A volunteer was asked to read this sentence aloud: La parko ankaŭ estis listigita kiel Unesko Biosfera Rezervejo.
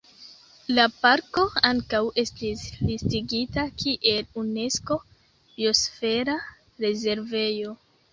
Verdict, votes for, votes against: rejected, 0, 2